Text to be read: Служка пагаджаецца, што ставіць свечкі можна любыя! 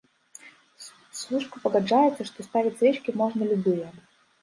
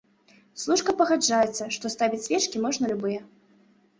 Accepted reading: second